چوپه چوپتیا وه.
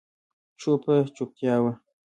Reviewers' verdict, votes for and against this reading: accepted, 2, 0